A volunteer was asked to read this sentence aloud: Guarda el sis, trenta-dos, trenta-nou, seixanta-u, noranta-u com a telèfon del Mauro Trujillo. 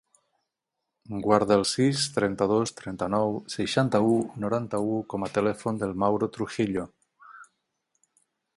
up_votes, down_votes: 9, 18